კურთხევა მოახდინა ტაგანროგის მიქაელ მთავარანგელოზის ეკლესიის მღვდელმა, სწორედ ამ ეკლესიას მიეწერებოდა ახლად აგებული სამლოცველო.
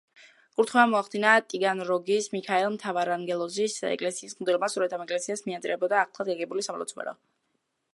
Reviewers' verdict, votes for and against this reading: rejected, 0, 2